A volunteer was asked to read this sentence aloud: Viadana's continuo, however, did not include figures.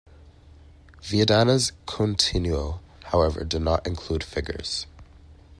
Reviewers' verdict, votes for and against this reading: accepted, 2, 0